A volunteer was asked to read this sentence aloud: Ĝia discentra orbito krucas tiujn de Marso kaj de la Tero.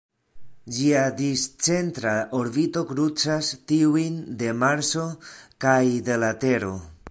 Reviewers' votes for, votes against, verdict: 0, 2, rejected